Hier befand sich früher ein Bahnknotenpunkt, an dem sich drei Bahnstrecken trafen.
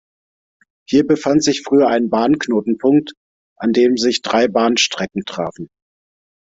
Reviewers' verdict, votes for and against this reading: accepted, 2, 0